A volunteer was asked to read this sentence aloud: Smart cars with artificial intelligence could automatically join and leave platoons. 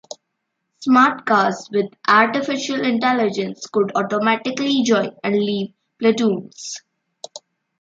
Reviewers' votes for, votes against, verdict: 2, 0, accepted